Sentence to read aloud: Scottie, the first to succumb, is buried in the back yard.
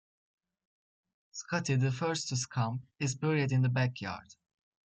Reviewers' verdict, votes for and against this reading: accepted, 2, 0